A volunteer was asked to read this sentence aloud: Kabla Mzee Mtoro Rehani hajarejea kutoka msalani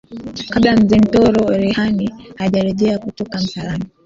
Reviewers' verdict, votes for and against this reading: accepted, 3, 2